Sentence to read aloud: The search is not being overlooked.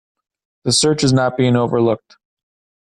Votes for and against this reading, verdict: 2, 0, accepted